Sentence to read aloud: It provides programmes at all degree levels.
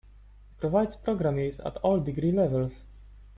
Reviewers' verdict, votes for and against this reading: rejected, 1, 2